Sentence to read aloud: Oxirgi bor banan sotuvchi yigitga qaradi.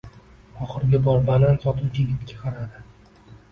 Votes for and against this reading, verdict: 2, 0, accepted